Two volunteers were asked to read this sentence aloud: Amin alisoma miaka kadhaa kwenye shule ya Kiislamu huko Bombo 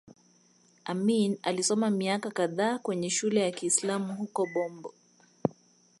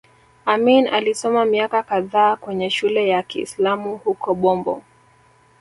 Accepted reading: first